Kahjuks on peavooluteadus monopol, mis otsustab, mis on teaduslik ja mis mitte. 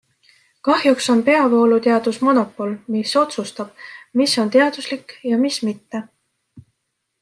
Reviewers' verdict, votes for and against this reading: accepted, 2, 0